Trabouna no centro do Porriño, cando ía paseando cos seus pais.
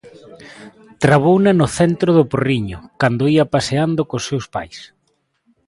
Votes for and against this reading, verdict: 2, 0, accepted